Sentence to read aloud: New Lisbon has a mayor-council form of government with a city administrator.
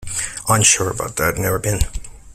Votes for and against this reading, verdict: 0, 3, rejected